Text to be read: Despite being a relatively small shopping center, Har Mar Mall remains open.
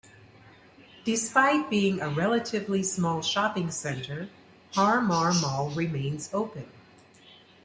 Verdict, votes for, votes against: accepted, 2, 1